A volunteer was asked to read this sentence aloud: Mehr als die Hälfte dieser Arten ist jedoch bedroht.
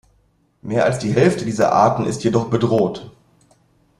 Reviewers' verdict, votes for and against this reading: accepted, 2, 0